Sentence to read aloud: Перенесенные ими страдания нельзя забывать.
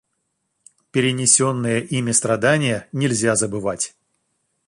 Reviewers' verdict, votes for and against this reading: accepted, 2, 0